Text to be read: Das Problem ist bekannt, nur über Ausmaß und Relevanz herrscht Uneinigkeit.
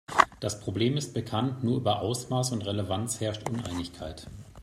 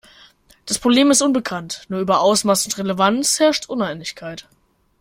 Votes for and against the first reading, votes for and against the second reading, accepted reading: 2, 1, 0, 2, first